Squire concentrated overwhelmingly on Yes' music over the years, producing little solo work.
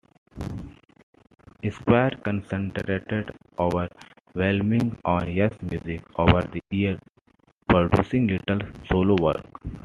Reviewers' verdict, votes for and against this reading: rejected, 1, 2